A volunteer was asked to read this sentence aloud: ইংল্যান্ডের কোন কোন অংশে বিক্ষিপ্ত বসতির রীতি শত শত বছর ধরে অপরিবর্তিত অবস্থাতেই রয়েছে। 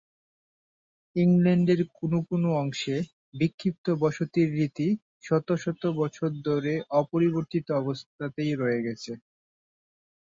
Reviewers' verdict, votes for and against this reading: rejected, 0, 2